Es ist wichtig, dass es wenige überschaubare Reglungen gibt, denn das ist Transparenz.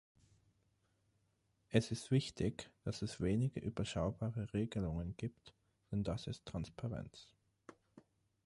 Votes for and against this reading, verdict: 9, 6, accepted